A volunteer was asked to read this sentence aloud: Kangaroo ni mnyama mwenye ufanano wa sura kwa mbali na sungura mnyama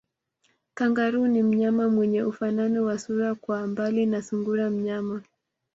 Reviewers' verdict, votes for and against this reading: accepted, 2, 0